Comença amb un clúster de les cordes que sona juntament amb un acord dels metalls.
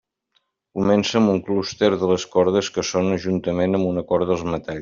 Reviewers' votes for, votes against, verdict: 1, 2, rejected